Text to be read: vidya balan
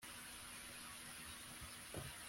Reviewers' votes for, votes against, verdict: 1, 2, rejected